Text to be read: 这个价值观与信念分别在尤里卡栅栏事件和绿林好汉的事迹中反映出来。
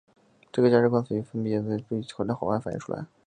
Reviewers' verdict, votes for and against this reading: rejected, 0, 2